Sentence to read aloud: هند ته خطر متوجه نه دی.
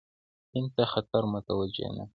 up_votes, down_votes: 2, 0